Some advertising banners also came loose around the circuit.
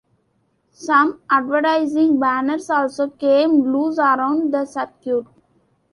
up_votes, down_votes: 2, 0